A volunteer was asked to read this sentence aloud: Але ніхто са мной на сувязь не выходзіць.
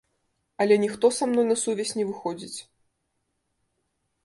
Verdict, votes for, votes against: accepted, 2, 0